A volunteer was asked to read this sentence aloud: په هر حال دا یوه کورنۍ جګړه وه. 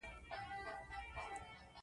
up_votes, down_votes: 0, 2